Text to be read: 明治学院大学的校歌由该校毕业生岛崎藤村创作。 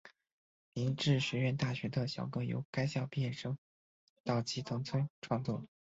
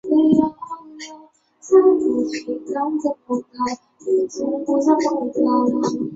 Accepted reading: first